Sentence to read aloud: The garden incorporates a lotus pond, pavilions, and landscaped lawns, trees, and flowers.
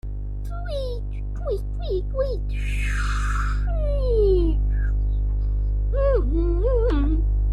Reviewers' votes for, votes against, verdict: 1, 2, rejected